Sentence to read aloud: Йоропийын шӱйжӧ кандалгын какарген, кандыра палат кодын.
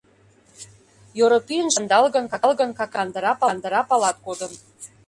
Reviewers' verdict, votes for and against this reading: rejected, 0, 2